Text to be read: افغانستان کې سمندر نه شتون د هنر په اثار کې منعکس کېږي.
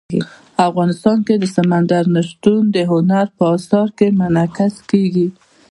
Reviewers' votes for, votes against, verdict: 2, 0, accepted